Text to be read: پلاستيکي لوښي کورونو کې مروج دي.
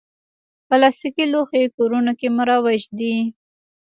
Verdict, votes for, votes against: rejected, 1, 2